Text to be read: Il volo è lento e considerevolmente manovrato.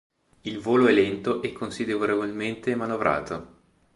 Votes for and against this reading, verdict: 2, 0, accepted